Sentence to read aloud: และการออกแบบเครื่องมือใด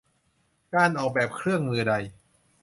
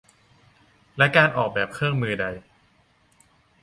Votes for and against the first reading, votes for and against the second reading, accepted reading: 0, 2, 2, 0, second